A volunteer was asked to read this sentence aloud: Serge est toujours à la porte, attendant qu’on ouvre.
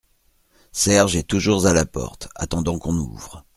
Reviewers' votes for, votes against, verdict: 2, 0, accepted